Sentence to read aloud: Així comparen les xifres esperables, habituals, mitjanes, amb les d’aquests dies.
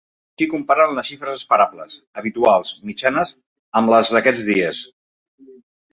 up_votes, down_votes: 0, 2